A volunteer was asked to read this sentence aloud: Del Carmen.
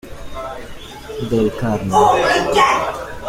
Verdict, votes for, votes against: rejected, 0, 2